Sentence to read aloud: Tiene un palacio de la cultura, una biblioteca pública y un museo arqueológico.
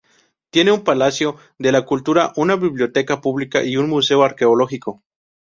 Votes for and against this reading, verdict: 2, 2, rejected